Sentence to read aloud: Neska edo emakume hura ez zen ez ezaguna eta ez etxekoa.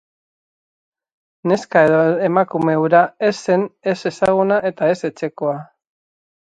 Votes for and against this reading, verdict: 4, 0, accepted